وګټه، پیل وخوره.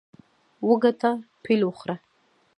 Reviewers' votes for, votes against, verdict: 1, 2, rejected